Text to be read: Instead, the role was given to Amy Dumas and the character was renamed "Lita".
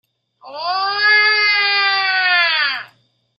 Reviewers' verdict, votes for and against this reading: rejected, 0, 2